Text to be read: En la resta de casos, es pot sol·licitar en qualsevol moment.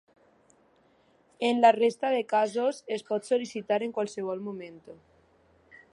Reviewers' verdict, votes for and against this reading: rejected, 1, 2